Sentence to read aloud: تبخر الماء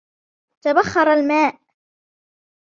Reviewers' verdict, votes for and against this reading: accepted, 2, 1